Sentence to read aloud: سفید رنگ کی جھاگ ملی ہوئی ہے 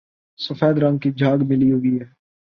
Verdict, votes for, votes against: rejected, 1, 2